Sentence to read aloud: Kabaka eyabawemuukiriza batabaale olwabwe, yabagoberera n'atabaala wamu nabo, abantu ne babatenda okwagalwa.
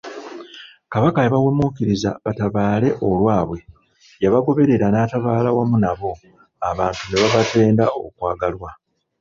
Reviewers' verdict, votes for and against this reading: rejected, 0, 2